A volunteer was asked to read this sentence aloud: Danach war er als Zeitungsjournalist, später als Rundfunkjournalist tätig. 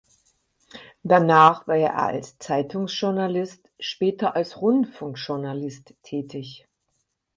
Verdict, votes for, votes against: accepted, 4, 0